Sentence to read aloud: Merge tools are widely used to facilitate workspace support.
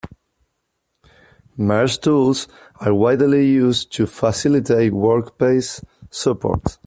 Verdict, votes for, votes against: accepted, 2, 0